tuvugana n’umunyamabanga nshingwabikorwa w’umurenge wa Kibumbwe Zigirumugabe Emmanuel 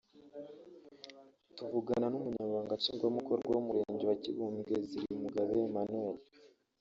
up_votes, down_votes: 2, 0